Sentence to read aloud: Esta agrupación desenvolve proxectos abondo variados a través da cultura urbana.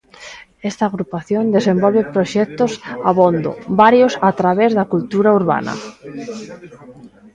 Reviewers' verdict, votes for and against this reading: rejected, 0, 2